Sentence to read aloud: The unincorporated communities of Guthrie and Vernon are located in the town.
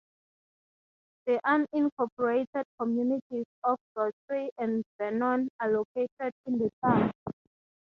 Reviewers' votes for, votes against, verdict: 3, 3, rejected